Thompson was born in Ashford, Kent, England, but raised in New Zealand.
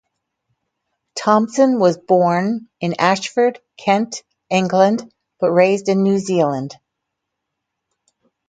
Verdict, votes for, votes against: accepted, 4, 0